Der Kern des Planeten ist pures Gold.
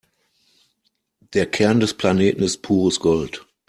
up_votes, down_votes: 2, 0